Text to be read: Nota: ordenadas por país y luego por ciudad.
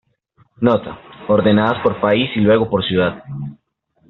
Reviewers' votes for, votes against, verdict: 3, 1, accepted